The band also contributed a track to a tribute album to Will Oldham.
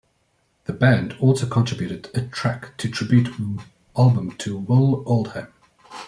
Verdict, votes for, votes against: rejected, 1, 2